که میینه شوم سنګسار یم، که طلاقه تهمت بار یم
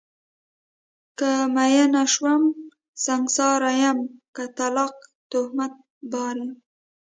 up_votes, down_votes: 2, 0